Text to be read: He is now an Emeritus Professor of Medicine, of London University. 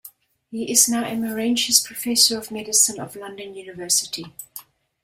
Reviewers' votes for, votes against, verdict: 0, 2, rejected